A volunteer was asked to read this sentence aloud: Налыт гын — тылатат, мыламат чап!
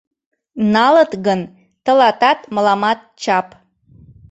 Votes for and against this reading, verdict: 2, 0, accepted